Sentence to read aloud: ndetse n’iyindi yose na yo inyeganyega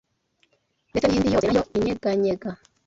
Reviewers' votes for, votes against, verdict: 1, 2, rejected